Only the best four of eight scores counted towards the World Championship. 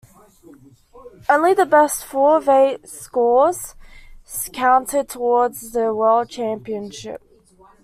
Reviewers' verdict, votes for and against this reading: accepted, 2, 1